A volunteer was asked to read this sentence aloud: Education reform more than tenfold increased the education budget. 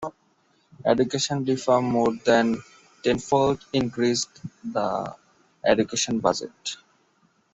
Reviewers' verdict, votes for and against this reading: accepted, 2, 0